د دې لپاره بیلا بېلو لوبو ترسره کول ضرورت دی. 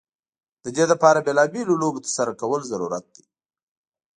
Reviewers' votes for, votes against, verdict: 2, 0, accepted